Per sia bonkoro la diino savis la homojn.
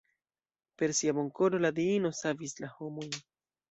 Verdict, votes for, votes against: rejected, 1, 2